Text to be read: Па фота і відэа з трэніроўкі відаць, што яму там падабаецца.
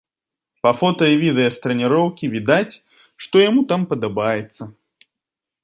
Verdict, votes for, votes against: accepted, 2, 0